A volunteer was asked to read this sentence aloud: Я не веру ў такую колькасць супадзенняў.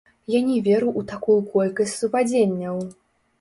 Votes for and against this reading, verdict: 1, 2, rejected